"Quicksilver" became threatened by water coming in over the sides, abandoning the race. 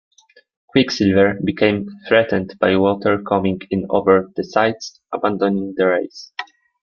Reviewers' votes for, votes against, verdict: 0, 2, rejected